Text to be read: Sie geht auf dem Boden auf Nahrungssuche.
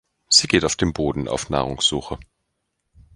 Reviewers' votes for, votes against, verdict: 2, 0, accepted